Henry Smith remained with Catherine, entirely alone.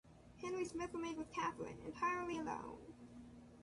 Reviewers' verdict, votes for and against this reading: rejected, 1, 2